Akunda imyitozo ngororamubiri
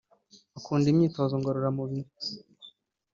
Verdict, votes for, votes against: accepted, 2, 1